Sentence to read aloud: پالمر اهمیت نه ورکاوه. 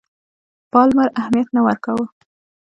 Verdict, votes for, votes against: accepted, 2, 0